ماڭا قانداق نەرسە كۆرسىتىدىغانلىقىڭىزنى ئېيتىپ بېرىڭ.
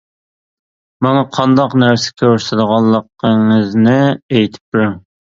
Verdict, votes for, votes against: accepted, 2, 0